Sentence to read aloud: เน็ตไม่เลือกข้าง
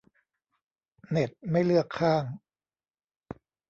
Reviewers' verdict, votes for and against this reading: accepted, 2, 0